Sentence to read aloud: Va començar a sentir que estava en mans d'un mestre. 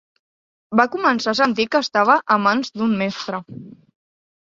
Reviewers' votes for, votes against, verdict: 1, 2, rejected